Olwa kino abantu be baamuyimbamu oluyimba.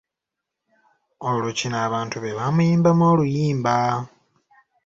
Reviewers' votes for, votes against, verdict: 0, 2, rejected